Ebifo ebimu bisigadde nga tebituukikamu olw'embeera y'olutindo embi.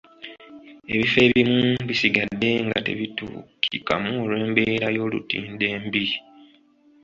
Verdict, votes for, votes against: accepted, 2, 0